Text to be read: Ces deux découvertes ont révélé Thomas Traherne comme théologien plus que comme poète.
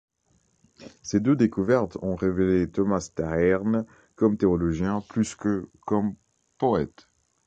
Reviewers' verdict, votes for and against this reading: rejected, 1, 2